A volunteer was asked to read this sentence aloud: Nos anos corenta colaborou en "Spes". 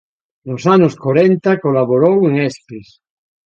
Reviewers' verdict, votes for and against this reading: rejected, 1, 2